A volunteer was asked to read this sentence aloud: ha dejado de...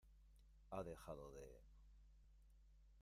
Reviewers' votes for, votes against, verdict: 0, 2, rejected